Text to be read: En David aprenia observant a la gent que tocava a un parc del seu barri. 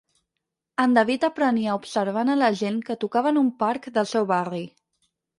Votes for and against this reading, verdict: 0, 4, rejected